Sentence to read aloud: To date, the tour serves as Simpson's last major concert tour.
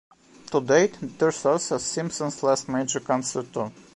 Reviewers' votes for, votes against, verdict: 1, 2, rejected